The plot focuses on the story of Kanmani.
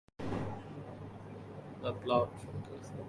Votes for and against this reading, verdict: 0, 2, rejected